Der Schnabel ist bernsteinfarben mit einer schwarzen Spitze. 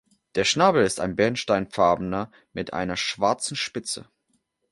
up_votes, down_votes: 0, 2